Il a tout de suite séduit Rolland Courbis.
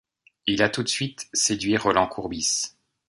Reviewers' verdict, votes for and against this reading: accepted, 2, 0